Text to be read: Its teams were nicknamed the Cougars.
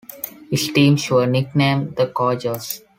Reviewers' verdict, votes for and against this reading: rejected, 1, 2